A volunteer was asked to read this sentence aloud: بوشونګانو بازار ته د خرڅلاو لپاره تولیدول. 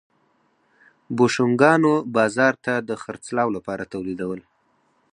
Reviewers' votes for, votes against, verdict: 4, 2, accepted